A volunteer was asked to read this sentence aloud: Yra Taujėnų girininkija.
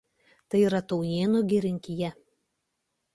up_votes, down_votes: 0, 2